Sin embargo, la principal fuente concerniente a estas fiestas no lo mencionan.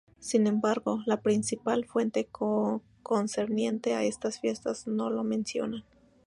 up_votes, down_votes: 0, 4